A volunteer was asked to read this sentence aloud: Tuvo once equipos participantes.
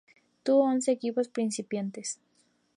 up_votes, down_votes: 0, 2